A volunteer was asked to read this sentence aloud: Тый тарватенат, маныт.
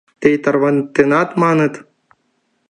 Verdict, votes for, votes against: rejected, 1, 2